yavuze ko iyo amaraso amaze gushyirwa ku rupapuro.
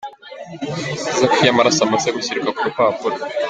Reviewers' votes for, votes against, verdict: 0, 2, rejected